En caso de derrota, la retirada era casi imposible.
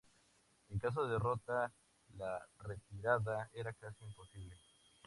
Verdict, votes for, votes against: accepted, 2, 0